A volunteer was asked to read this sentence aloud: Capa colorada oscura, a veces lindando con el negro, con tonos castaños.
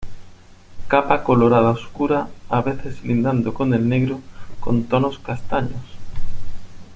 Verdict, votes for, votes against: accepted, 2, 0